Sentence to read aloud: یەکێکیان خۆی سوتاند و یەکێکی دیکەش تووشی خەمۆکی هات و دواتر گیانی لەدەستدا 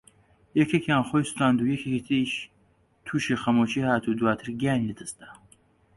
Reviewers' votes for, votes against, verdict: 0, 2, rejected